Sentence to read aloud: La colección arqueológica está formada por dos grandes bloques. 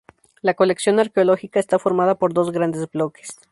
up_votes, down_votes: 0, 2